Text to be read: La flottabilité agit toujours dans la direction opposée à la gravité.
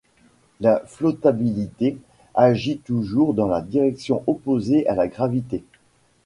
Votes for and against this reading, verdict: 0, 2, rejected